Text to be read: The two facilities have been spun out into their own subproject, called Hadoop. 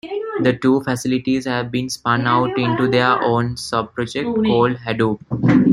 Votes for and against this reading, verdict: 1, 2, rejected